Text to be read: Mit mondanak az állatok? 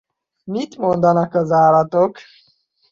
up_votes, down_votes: 2, 0